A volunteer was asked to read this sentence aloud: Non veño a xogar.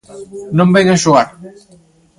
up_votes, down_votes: 1, 2